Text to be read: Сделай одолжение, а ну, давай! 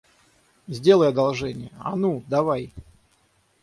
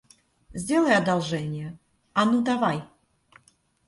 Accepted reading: second